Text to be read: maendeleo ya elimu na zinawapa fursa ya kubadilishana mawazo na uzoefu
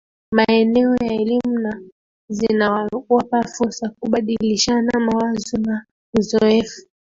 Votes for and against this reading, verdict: 2, 3, rejected